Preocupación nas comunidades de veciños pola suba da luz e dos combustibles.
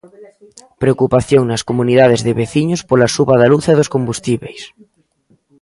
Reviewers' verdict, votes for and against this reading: rejected, 1, 2